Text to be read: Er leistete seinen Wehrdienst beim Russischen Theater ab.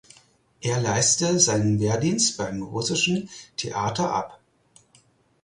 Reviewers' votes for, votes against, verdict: 2, 4, rejected